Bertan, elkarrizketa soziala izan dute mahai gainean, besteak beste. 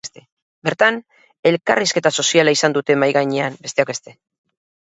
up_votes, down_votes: 0, 4